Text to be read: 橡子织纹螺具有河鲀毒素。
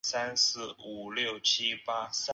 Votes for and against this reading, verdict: 0, 2, rejected